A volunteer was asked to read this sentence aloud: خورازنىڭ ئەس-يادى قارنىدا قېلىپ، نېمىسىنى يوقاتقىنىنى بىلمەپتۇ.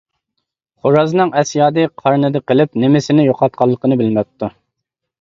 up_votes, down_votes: 1, 2